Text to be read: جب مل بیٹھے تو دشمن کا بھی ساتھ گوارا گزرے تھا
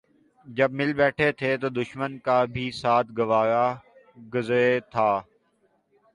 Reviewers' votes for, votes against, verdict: 0, 2, rejected